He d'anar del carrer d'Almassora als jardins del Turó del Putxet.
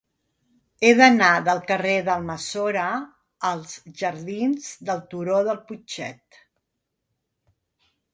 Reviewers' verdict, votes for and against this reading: accepted, 2, 0